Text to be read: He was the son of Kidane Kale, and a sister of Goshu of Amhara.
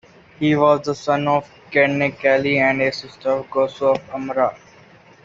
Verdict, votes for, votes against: rejected, 1, 2